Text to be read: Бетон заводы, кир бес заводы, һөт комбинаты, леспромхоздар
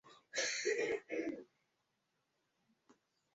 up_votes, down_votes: 0, 2